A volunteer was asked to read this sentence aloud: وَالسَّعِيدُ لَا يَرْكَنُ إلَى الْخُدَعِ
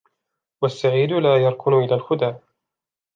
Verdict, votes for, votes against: accepted, 2, 0